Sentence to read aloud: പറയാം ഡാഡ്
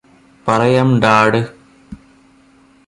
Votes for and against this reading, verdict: 1, 2, rejected